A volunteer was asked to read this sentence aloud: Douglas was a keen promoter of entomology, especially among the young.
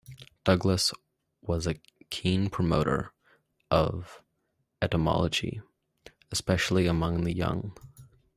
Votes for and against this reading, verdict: 1, 2, rejected